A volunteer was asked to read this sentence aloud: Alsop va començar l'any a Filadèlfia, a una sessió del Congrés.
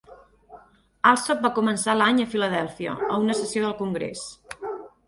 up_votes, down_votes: 4, 2